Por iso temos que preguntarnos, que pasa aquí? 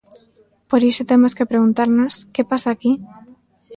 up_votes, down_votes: 2, 0